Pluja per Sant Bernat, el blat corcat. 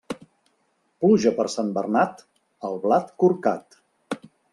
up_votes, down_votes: 3, 0